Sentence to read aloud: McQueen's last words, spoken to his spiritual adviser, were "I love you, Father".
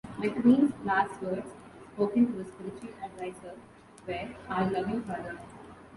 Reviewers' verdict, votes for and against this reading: rejected, 0, 2